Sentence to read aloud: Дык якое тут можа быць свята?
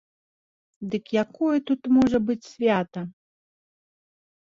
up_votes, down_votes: 2, 0